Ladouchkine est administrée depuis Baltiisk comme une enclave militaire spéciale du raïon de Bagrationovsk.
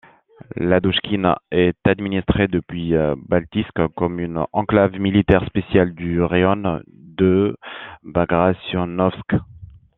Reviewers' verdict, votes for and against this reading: accepted, 2, 0